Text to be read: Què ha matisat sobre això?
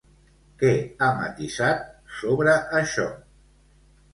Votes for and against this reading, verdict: 2, 0, accepted